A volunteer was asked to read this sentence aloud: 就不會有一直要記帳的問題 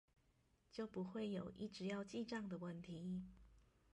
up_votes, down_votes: 0, 2